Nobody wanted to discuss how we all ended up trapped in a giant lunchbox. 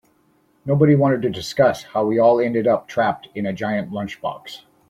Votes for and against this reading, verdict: 2, 0, accepted